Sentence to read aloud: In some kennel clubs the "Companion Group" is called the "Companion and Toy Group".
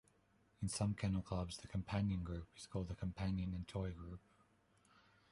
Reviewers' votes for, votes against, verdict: 2, 0, accepted